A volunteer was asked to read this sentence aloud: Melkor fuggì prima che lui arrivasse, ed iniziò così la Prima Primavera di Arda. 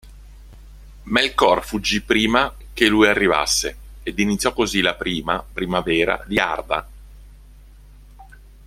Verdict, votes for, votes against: rejected, 1, 2